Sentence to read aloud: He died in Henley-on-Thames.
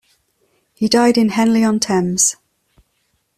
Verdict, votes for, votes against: accepted, 2, 0